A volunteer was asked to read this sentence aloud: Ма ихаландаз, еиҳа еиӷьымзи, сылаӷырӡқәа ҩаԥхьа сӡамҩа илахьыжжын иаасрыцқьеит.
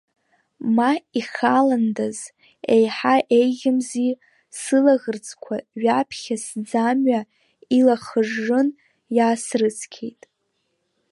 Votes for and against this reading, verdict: 1, 2, rejected